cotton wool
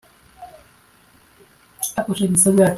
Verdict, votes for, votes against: rejected, 0, 2